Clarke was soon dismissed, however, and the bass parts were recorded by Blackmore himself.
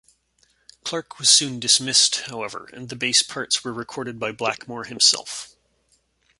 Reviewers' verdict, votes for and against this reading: accepted, 2, 0